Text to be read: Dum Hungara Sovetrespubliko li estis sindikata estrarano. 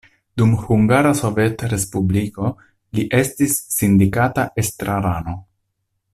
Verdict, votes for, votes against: accepted, 2, 0